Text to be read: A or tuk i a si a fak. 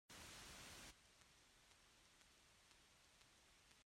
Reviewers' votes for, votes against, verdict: 1, 2, rejected